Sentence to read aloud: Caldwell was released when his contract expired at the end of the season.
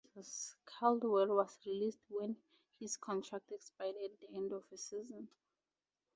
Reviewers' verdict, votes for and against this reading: accepted, 4, 2